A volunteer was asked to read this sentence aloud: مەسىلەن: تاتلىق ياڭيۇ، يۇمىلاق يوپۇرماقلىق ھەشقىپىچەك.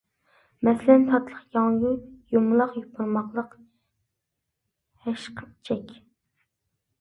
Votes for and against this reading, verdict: 2, 0, accepted